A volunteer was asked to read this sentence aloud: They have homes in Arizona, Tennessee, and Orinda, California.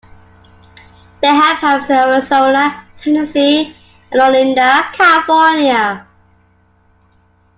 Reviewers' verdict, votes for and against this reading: rejected, 0, 2